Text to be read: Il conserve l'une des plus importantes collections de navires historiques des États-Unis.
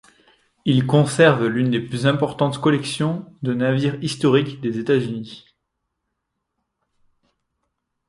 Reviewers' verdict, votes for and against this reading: accepted, 2, 0